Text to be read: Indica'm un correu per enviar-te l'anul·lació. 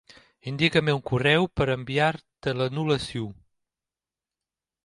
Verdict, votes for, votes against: accepted, 3, 0